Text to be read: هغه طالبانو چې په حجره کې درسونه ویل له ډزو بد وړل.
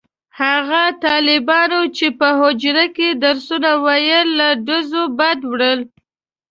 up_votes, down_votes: 2, 0